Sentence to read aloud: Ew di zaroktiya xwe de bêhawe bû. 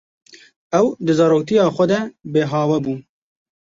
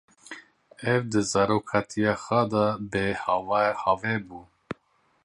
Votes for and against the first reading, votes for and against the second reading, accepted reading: 2, 0, 0, 2, first